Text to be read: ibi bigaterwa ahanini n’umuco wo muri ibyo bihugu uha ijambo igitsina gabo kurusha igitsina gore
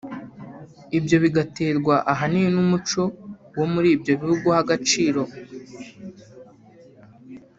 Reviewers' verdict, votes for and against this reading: rejected, 0, 2